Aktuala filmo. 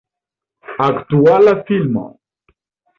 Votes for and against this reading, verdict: 3, 0, accepted